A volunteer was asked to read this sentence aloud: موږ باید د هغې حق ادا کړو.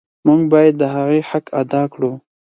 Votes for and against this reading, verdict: 8, 0, accepted